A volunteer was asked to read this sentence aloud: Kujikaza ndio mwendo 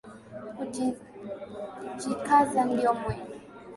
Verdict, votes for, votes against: accepted, 2, 1